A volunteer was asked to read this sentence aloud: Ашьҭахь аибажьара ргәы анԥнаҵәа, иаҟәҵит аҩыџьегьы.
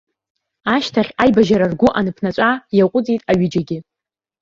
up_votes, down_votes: 1, 2